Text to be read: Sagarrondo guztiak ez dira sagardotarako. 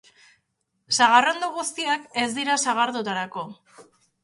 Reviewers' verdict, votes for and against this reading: accepted, 2, 0